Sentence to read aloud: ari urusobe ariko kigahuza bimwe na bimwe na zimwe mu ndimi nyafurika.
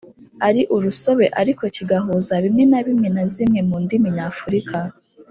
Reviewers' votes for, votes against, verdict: 1, 2, rejected